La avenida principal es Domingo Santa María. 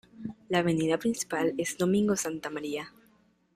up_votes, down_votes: 2, 0